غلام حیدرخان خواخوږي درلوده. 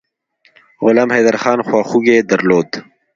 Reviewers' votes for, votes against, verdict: 0, 2, rejected